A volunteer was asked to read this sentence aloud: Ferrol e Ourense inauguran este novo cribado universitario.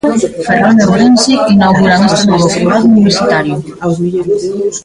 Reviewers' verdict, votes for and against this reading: rejected, 0, 2